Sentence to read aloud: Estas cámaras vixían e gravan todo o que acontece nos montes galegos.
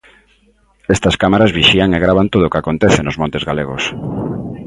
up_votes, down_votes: 2, 0